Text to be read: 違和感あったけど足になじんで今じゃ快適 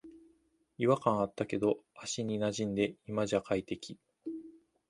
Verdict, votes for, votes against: accepted, 2, 0